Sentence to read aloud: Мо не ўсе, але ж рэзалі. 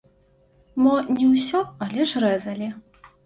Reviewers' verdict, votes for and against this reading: rejected, 0, 2